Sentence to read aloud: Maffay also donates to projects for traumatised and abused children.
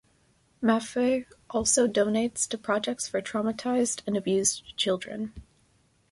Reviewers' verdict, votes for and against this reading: accepted, 2, 0